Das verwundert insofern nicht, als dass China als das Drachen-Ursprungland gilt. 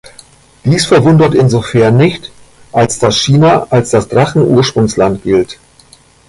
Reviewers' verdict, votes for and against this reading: rejected, 1, 2